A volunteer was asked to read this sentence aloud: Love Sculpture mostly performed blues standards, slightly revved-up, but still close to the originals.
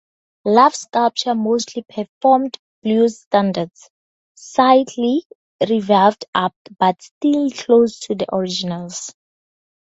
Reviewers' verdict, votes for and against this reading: rejected, 0, 4